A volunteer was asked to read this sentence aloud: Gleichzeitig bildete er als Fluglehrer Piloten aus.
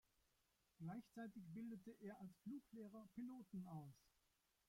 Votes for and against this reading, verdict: 0, 2, rejected